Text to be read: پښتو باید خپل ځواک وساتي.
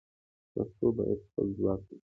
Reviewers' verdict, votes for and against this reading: accepted, 2, 1